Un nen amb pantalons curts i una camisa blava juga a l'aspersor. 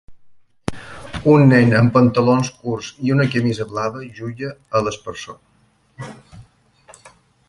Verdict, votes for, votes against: rejected, 0, 2